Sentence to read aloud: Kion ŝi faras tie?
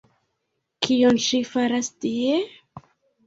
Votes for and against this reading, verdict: 0, 2, rejected